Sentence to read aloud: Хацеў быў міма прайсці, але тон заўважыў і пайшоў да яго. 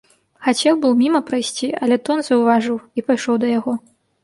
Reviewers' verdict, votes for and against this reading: accepted, 2, 0